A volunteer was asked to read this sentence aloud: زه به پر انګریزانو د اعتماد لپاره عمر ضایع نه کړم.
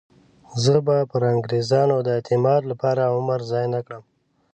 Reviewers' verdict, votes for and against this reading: accepted, 2, 0